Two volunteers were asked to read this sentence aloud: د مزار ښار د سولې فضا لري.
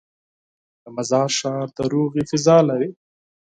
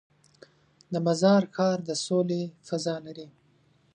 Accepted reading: second